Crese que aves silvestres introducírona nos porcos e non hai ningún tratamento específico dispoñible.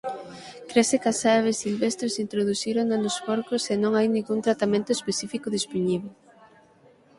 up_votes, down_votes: 3, 6